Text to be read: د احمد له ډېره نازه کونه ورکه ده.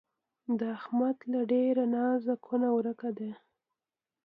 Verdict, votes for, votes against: accepted, 2, 0